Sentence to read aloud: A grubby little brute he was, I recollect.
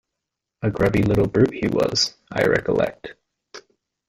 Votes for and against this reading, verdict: 1, 2, rejected